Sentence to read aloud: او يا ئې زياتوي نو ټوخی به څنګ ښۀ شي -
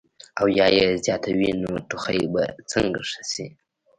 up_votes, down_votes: 1, 2